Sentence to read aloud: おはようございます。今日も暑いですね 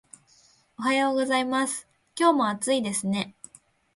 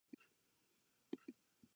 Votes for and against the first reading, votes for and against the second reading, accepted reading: 2, 0, 0, 2, first